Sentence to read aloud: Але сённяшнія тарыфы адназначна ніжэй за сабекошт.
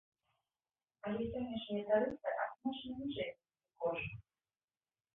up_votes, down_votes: 0, 2